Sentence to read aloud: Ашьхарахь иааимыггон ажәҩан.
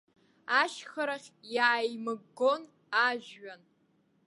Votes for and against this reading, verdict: 2, 1, accepted